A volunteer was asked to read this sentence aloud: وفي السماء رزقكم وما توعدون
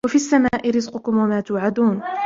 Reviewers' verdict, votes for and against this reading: rejected, 1, 2